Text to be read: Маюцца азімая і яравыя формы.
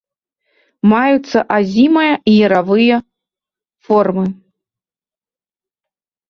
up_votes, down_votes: 2, 0